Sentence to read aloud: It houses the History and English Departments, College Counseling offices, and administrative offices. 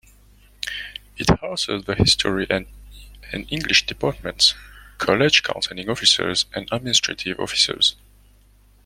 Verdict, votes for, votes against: rejected, 0, 2